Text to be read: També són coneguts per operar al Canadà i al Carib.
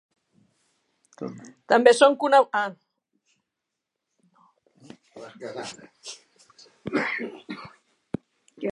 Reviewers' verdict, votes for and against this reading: rejected, 1, 2